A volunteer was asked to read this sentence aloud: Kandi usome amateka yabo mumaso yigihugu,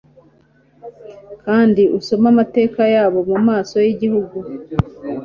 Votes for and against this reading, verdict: 2, 0, accepted